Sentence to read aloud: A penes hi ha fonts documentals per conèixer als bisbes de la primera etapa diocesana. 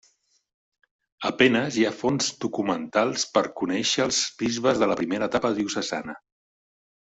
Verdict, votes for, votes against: rejected, 1, 2